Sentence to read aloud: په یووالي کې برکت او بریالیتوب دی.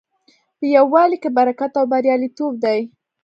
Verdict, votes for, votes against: accepted, 2, 0